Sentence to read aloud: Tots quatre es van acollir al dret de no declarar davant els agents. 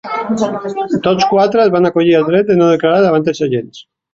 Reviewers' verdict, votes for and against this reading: rejected, 0, 2